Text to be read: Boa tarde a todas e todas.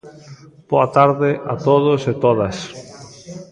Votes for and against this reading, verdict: 0, 2, rejected